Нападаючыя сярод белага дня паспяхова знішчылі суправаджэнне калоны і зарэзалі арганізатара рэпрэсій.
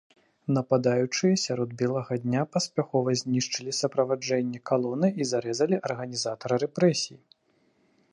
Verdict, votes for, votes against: rejected, 0, 2